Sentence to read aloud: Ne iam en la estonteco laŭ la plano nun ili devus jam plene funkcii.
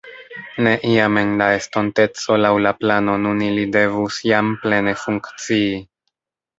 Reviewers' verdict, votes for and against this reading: rejected, 1, 2